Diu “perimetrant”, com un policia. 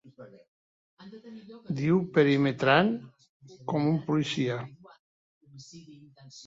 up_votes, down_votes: 1, 2